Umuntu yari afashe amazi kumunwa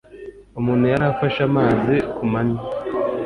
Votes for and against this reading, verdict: 1, 2, rejected